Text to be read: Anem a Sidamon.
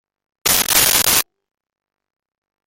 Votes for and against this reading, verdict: 0, 2, rejected